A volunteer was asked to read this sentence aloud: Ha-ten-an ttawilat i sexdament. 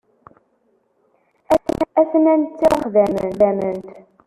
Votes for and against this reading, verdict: 0, 2, rejected